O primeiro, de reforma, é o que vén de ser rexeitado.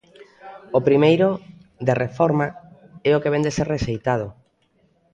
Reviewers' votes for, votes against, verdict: 4, 0, accepted